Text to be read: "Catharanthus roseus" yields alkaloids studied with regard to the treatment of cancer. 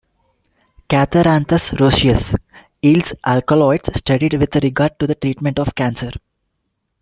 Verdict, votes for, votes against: rejected, 1, 2